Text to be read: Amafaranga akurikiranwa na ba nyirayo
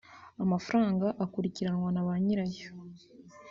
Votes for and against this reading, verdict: 1, 2, rejected